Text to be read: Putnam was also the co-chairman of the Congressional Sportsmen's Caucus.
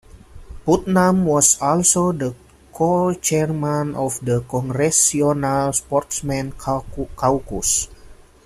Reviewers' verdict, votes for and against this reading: accepted, 2, 1